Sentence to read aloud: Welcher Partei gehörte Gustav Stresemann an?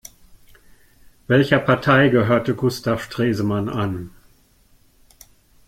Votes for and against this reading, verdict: 2, 0, accepted